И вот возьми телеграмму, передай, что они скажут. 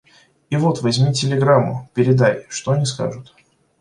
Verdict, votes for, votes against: accepted, 2, 0